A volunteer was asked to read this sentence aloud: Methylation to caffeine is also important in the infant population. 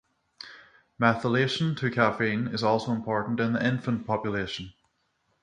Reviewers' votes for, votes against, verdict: 3, 6, rejected